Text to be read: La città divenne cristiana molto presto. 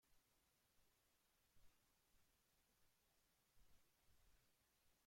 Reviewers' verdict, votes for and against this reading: rejected, 0, 2